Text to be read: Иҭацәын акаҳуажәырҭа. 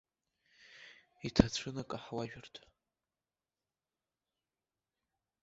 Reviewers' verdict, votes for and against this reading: accepted, 2, 1